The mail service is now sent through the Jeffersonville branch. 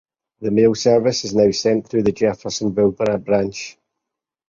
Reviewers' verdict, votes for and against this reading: rejected, 0, 4